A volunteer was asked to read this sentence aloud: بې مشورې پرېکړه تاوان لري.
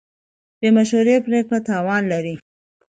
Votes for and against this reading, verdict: 2, 0, accepted